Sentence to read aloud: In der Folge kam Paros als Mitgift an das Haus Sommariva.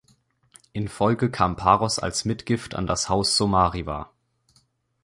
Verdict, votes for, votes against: rejected, 0, 2